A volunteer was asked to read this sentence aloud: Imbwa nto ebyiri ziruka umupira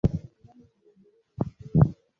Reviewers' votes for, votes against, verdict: 0, 2, rejected